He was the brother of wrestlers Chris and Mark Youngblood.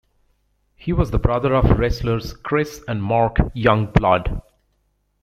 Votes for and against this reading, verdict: 2, 0, accepted